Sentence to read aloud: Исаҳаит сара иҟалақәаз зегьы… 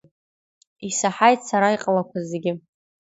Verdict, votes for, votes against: accepted, 2, 0